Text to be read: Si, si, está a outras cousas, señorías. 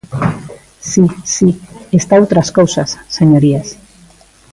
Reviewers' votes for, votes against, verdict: 1, 2, rejected